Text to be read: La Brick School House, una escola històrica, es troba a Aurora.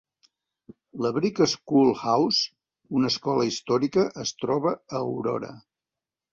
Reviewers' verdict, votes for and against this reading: accepted, 2, 0